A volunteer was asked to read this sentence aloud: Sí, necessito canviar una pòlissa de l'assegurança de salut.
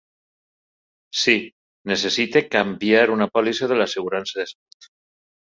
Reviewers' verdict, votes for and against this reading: rejected, 1, 2